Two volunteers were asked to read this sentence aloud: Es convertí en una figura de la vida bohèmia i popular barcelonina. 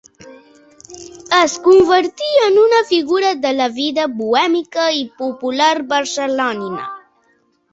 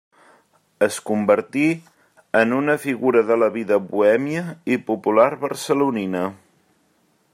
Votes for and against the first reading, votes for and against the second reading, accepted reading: 0, 2, 3, 0, second